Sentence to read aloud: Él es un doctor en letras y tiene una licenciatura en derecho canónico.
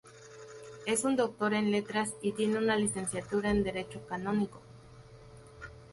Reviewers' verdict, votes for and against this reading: rejected, 0, 4